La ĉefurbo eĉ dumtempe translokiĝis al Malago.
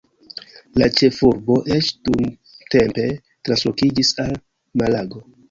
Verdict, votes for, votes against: accepted, 2, 0